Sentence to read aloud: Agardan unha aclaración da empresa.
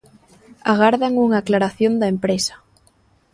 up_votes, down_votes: 2, 0